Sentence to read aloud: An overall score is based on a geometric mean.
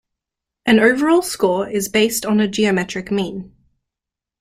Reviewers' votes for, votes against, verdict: 2, 0, accepted